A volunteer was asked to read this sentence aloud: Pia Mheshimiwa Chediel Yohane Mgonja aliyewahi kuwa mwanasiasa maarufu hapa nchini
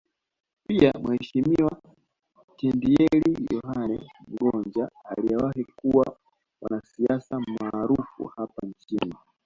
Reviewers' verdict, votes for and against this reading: accepted, 2, 0